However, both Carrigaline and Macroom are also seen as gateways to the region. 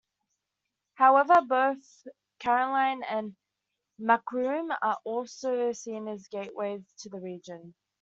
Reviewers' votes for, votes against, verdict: 0, 2, rejected